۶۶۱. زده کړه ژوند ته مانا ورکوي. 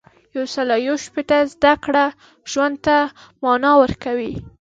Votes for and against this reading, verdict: 0, 2, rejected